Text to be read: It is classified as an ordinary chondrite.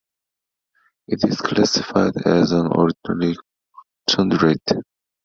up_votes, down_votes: 0, 2